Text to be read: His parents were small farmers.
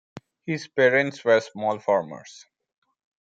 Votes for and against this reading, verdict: 1, 2, rejected